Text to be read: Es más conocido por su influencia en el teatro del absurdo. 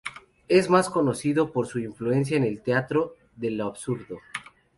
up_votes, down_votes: 0, 2